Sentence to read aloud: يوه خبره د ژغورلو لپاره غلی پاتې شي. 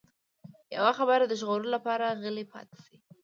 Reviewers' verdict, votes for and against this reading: accepted, 2, 1